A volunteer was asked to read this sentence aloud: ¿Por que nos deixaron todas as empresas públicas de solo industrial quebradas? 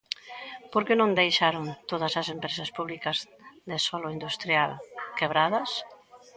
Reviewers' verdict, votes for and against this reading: rejected, 1, 2